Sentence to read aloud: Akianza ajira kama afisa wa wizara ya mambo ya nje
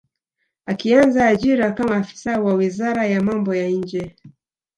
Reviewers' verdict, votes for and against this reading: rejected, 1, 2